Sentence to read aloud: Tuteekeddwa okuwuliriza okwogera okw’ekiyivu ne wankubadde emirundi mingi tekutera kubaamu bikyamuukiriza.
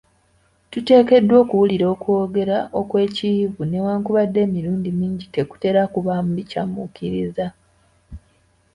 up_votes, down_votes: 1, 3